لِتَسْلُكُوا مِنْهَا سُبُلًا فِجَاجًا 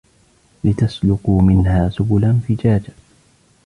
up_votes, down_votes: 0, 2